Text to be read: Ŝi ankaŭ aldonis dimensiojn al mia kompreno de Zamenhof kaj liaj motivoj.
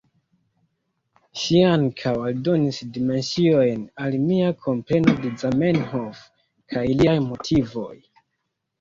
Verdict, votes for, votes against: rejected, 0, 2